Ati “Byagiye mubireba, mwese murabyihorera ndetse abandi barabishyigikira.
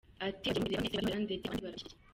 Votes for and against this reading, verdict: 0, 2, rejected